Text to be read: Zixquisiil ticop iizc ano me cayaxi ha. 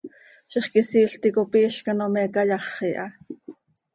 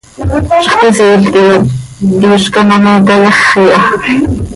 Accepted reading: first